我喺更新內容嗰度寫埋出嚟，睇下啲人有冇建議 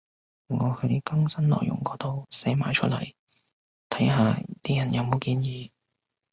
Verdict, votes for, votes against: accepted, 2, 0